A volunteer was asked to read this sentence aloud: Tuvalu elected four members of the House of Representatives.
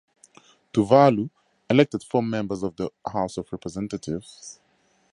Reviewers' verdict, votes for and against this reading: accepted, 2, 0